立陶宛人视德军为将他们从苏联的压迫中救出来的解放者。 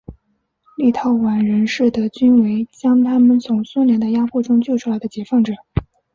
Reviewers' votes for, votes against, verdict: 6, 0, accepted